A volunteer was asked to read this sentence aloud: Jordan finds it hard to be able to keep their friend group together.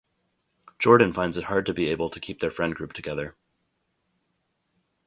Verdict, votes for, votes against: accepted, 2, 0